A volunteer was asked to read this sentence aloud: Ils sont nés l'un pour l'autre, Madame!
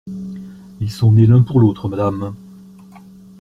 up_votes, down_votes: 2, 0